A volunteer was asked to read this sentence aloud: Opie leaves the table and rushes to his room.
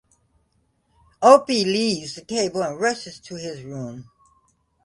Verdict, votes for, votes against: accepted, 2, 0